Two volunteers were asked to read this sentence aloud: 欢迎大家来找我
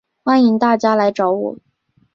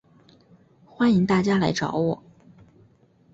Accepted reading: first